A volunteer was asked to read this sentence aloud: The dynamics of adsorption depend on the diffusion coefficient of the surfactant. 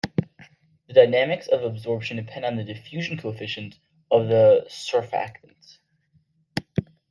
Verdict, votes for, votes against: rejected, 1, 2